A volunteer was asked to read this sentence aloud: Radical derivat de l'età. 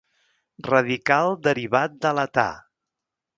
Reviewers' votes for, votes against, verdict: 3, 0, accepted